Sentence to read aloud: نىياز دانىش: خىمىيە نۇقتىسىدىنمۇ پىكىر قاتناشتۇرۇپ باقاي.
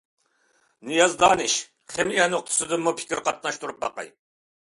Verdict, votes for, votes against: accepted, 2, 0